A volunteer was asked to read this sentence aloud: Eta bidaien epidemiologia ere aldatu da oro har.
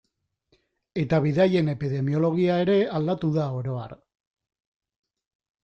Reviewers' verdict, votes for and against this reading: accepted, 2, 0